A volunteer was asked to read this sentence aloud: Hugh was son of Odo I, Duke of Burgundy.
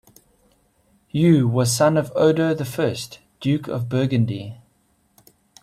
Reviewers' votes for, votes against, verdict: 2, 1, accepted